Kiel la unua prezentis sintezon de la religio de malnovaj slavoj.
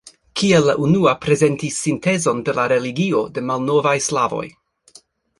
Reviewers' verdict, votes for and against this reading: accepted, 3, 0